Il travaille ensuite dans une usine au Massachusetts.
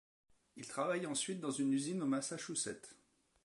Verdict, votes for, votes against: rejected, 1, 2